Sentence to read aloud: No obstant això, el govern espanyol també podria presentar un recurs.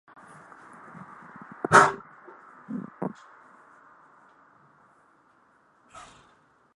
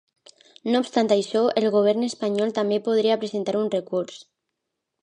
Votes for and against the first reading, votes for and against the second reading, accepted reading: 0, 2, 2, 0, second